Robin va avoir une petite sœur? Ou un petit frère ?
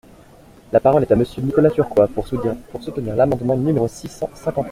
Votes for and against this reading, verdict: 0, 2, rejected